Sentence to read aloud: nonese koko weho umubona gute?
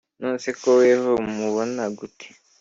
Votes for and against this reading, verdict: 3, 1, accepted